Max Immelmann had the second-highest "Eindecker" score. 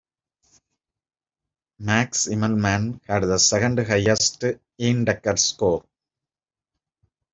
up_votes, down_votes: 0, 2